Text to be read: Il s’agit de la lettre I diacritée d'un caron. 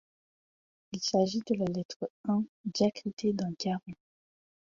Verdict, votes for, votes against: rejected, 0, 2